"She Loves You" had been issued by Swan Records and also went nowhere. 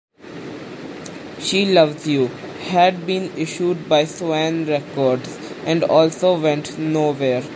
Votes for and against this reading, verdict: 2, 0, accepted